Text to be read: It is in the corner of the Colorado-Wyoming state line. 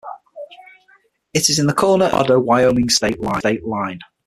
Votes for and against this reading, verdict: 0, 6, rejected